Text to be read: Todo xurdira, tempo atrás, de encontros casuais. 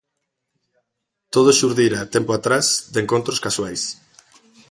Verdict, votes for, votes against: accepted, 2, 0